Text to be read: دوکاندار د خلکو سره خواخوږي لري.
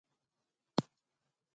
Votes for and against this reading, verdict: 0, 2, rejected